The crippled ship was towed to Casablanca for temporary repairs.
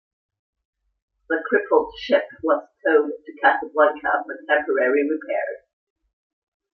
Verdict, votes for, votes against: accepted, 2, 0